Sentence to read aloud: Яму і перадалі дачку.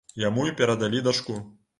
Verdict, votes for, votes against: accepted, 2, 0